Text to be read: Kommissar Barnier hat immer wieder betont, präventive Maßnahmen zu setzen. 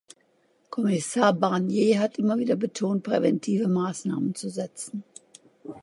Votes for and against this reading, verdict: 2, 0, accepted